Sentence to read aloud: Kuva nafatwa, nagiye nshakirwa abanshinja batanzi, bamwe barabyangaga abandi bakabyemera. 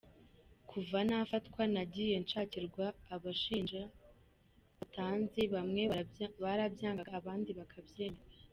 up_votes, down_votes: 1, 2